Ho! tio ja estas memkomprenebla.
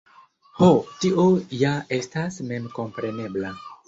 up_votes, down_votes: 2, 1